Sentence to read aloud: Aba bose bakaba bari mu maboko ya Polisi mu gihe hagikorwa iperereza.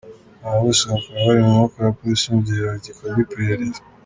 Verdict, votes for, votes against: accepted, 2, 0